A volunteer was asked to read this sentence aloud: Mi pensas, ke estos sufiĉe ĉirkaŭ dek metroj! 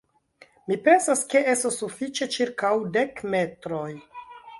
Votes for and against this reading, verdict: 1, 2, rejected